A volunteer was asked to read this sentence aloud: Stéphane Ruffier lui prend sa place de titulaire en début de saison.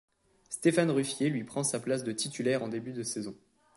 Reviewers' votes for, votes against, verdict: 2, 0, accepted